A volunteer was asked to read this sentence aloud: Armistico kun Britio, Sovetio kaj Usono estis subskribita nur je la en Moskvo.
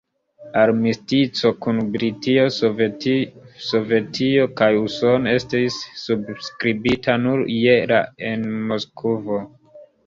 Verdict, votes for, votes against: rejected, 1, 2